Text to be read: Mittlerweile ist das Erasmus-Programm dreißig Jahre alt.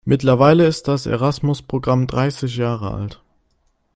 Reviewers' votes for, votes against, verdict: 2, 0, accepted